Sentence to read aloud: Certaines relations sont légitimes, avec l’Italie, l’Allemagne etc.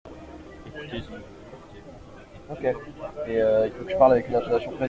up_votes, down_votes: 0, 2